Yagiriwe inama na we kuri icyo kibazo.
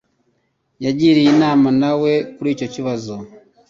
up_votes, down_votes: 0, 2